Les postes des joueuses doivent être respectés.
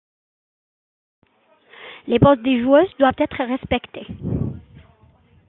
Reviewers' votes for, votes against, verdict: 1, 2, rejected